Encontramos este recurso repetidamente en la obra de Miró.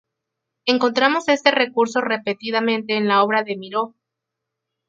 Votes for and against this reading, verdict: 2, 0, accepted